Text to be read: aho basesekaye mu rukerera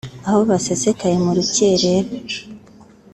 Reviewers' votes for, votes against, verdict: 2, 0, accepted